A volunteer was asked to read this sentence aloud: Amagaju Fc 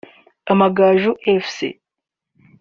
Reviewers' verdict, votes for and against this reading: accepted, 2, 0